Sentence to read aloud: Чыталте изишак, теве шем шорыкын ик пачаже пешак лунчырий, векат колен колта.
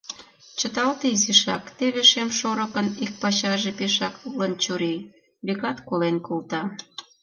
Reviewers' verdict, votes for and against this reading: rejected, 1, 2